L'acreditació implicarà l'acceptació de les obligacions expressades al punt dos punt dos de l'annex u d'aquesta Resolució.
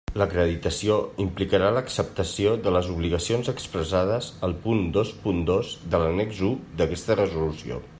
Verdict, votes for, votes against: accepted, 3, 0